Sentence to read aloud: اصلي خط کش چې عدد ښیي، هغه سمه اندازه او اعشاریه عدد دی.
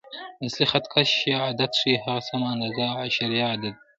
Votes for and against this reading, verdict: 1, 2, rejected